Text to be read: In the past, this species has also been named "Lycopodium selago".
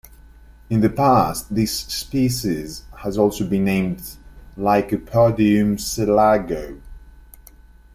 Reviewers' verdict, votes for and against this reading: accepted, 2, 0